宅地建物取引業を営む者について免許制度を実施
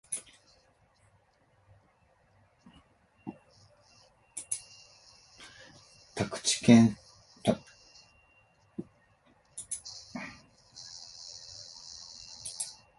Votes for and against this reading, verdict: 0, 4, rejected